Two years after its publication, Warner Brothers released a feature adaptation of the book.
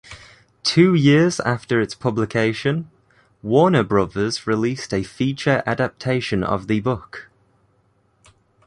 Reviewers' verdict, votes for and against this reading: accepted, 2, 0